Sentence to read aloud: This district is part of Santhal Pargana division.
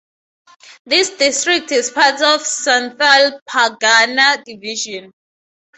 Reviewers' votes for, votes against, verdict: 2, 0, accepted